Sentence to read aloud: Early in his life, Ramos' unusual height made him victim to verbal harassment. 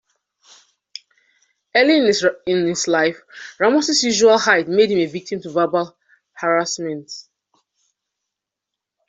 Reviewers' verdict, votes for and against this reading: rejected, 0, 2